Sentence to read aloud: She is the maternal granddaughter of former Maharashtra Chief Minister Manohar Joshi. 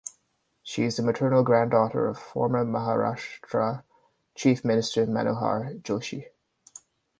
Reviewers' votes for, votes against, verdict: 2, 0, accepted